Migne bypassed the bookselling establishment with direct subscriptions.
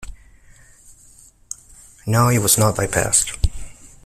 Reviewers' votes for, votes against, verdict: 0, 2, rejected